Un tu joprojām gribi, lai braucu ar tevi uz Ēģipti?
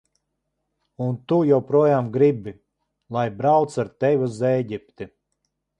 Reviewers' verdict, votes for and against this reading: accepted, 2, 0